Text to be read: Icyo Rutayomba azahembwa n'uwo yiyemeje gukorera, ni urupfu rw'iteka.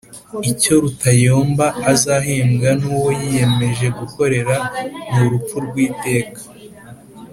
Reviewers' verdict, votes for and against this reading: accepted, 2, 0